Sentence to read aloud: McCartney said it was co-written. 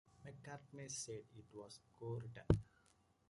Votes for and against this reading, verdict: 1, 2, rejected